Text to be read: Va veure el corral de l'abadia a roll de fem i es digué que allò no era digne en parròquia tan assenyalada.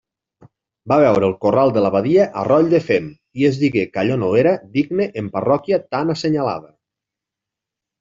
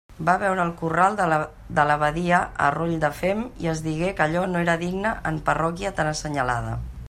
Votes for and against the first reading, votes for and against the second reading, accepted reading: 2, 0, 1, 2, first